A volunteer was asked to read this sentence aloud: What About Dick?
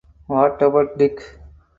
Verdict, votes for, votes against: accepted, 4, 0